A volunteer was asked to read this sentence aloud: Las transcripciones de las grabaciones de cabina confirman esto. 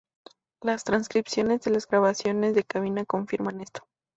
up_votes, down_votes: 2, 0